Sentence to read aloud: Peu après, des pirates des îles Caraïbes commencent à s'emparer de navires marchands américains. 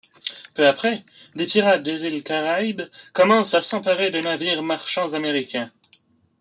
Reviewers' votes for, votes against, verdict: 2, 0, accepted